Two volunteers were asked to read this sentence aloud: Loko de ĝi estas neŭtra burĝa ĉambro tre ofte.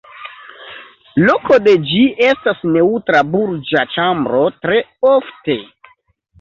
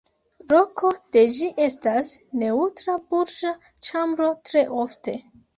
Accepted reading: first